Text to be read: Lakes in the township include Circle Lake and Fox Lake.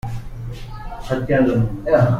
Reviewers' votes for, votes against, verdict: 0, 2, rejected